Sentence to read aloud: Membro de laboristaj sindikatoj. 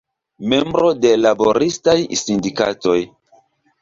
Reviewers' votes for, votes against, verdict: 2, 0, accepted